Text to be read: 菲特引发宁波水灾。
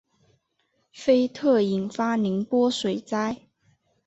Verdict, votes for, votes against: accepted, 2, 0